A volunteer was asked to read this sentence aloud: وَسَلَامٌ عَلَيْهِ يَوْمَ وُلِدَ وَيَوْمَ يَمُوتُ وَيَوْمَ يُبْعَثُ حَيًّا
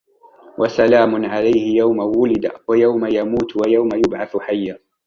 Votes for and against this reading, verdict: 1, 2, rejected